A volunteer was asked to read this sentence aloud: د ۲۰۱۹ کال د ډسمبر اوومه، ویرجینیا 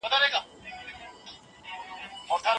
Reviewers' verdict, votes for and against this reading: rejected, 0, 2